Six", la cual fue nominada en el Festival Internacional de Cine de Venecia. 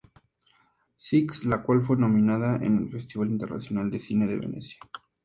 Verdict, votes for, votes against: accepted, 6, 0